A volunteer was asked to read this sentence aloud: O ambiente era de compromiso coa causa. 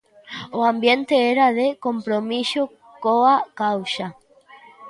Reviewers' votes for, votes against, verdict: 2, 3, rejected